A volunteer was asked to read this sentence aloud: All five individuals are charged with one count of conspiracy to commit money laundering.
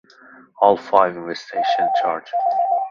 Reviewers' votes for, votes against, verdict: 0, 2, rejected